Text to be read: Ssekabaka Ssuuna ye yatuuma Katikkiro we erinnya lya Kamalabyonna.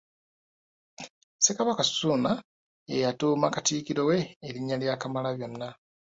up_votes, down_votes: 0, 2